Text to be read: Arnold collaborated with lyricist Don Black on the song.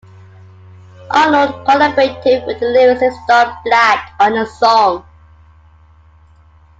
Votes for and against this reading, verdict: 2, 0, accepted